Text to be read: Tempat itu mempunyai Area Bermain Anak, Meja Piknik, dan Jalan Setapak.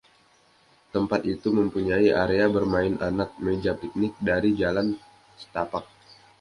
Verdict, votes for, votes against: rejected, 0, 2